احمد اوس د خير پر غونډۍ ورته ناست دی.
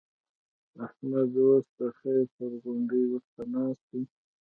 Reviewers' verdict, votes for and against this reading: accepted, 2, 0